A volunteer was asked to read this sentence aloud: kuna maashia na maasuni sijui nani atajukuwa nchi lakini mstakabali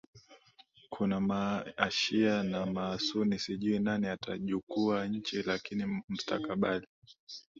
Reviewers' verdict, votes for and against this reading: rejected, 0, 2